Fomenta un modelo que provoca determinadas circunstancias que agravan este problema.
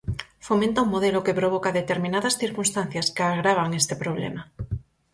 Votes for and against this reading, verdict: 4, 0, accepted